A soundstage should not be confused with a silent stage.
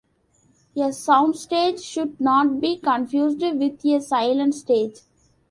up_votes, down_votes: 0, 2